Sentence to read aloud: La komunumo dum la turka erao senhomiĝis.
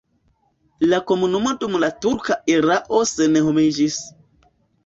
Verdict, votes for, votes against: accepted, 2, 0